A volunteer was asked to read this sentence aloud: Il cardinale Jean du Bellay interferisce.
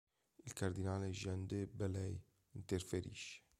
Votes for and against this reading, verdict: 1, 2, rejected